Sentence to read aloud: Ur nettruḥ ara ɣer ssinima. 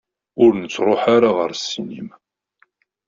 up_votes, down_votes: 2, 1